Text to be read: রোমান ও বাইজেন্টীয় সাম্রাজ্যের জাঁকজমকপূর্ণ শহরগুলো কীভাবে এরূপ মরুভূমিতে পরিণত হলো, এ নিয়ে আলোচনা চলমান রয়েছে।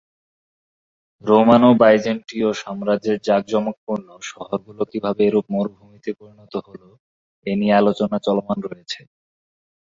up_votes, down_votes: 0, 2